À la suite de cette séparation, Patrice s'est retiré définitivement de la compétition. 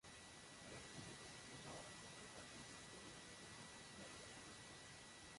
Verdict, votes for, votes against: rejected, 0, 2